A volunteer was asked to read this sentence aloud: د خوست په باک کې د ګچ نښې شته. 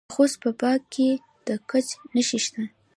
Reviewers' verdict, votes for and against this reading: accepted, 2, 0